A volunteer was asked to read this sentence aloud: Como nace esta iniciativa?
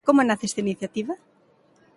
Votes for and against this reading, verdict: 3, 0, accepted